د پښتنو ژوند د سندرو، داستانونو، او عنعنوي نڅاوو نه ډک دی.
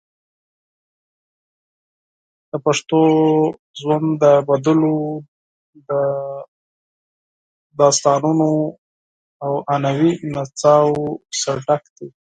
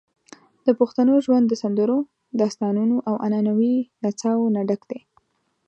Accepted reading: second